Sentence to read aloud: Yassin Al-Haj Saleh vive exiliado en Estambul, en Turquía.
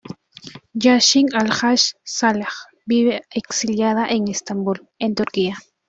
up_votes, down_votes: 1, 2